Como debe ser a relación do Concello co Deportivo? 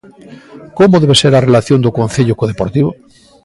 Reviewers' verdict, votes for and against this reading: accepted, 2, 0